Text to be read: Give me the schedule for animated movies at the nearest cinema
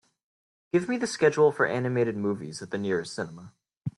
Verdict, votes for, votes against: accepted, 2, 0